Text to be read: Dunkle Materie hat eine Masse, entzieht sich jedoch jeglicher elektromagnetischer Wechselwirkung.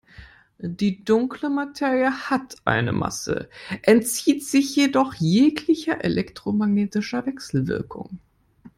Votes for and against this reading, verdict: 0, 2, rejected